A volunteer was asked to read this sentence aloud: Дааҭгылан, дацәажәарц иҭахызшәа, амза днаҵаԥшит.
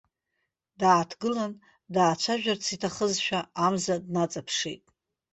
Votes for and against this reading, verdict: 0, 2, rejected